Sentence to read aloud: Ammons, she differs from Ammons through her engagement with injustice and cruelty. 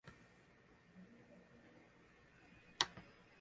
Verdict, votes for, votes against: rejected, 0, 2